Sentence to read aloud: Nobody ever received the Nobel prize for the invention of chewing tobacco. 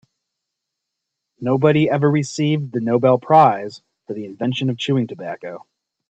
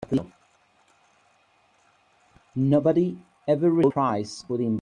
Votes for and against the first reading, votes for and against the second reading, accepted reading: 2, 0, 0, 2, first